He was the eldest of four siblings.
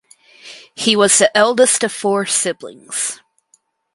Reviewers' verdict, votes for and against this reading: accepted, 4, 0